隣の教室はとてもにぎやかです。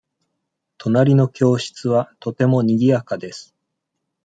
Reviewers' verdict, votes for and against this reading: accepted, 2, 0